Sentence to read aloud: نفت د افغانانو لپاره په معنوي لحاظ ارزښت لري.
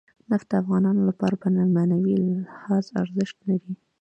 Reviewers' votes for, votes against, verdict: 2, 0, accepted